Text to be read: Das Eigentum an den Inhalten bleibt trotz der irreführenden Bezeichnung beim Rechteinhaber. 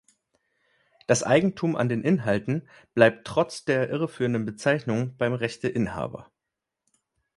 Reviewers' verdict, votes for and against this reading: accepted, 3, 0